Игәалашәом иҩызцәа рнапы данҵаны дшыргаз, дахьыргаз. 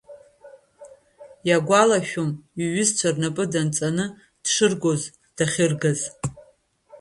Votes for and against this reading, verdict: 0, 2, rejected